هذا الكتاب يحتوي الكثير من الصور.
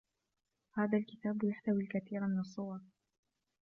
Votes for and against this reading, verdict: 0, 2, rejected